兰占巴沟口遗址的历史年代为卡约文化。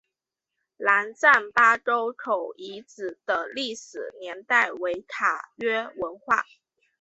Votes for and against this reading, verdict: 2, 0, accepted